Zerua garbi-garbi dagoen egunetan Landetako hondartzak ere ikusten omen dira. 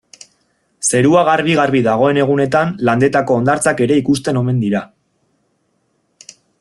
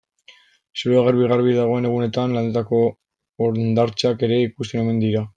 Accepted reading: first